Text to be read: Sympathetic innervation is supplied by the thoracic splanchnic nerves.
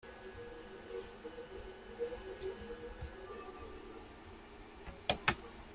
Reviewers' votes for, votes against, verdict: 0, 2, rejected